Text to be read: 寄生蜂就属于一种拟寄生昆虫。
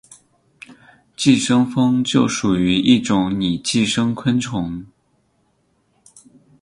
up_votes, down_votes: 8, 2